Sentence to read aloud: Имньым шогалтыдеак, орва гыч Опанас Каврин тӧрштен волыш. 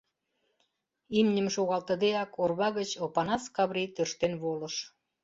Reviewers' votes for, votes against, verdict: 0, 2, rejected